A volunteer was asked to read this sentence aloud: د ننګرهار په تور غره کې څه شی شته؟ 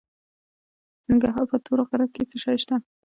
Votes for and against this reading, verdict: 2, 0, accepted